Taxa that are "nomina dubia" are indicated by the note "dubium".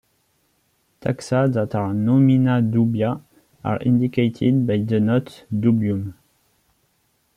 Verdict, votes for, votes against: accepted, 2, 1